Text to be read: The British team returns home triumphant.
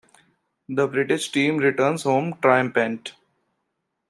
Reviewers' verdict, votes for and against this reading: rejected, 0, 2